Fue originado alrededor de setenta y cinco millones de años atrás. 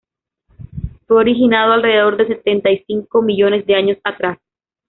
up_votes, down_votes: 1, 2